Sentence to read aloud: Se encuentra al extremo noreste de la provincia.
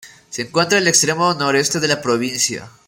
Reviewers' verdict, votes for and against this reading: accepted, 2, 0